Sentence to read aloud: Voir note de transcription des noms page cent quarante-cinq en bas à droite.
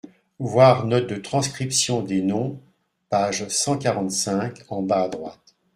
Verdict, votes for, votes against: accepted, 2, 0